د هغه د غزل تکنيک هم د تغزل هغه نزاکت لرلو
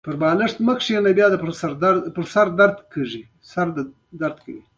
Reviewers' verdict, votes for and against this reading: accepted, 2, 0